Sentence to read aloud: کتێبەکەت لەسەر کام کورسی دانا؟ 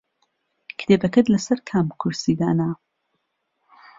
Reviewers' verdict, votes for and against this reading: accepted, 2, 0